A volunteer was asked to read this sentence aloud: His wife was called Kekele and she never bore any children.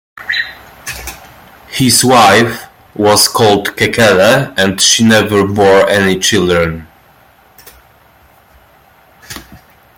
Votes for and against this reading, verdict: 2, 0, accepted